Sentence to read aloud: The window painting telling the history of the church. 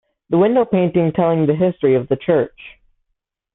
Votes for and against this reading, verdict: 2, 0, accepted